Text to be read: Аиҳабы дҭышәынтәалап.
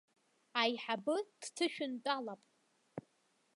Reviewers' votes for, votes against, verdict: 2, 0, accepted